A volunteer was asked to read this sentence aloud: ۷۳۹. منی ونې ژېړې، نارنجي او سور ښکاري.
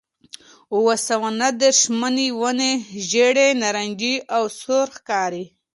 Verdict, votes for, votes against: rejected, 0, 2